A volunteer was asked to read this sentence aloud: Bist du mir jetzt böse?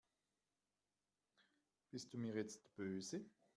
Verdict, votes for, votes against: rejected, 1, 2